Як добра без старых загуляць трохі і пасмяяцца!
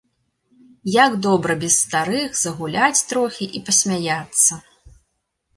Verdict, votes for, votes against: accepted, 2, 0